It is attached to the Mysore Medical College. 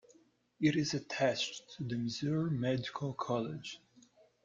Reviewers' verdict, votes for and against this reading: rejected, 0, 2